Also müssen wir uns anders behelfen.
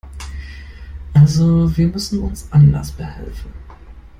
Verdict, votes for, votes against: rejected, 1, 2